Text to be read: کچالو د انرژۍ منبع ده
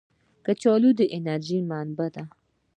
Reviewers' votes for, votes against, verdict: 3, 0, accepted